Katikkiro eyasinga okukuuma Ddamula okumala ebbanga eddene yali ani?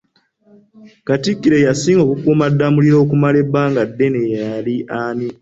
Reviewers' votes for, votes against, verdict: 2, 0, accepted